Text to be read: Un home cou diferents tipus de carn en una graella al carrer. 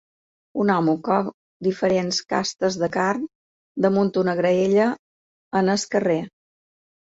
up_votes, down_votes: 1, 2